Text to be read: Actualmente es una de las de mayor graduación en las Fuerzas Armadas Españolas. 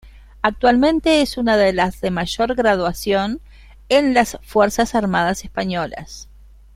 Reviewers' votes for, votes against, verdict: 1, 2, rejected